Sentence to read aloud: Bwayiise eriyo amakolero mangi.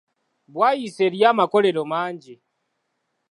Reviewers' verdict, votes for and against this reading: accepted, 2, 0